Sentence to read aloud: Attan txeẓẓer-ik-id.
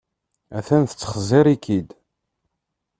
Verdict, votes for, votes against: rejected, 0, 2